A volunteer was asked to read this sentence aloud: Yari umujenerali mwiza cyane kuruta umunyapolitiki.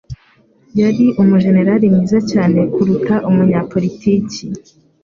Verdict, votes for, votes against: accepted, 2, 0